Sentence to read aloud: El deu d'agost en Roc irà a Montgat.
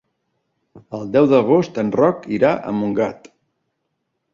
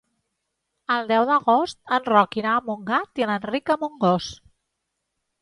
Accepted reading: first